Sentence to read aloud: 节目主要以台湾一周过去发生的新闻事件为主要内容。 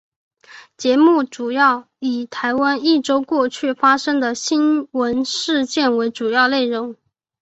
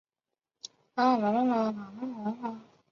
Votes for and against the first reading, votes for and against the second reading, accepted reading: 5, 1, 0, 2, first